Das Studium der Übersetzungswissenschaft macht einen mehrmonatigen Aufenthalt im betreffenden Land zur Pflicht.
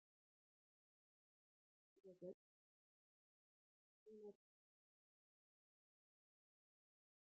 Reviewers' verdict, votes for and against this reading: rejected, 0, 2